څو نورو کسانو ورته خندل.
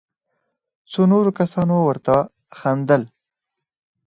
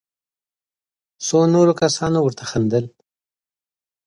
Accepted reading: second